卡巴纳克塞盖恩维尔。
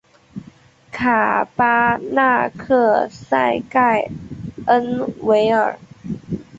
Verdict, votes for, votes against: accepted, 2, 0